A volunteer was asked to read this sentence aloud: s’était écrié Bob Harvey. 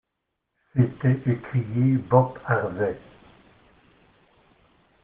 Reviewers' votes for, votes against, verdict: 1, 2, rejected